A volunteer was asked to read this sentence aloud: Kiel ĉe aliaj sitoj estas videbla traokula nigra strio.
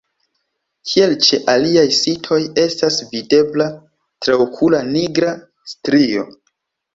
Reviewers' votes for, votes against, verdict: 2, 0, accepted